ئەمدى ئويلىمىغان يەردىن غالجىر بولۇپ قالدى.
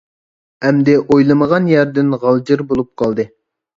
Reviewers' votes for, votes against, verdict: 2, 0, accepted